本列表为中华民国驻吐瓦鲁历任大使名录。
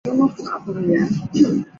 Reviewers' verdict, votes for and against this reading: rejected, 2, 3